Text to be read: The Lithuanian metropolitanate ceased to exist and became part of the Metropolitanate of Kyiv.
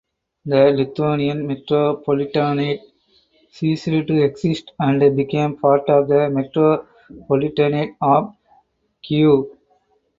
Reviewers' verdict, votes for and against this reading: rejected, 2, 4